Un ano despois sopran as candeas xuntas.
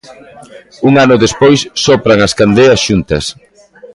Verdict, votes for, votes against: accepted, 2, 0